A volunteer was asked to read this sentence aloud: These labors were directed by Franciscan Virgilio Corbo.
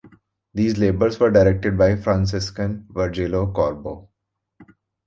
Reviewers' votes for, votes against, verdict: 3, 0, accepted